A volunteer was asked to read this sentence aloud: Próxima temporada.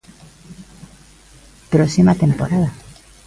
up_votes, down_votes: 2, 0